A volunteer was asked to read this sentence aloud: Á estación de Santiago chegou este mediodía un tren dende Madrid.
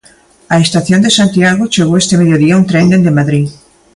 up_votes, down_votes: 2, 0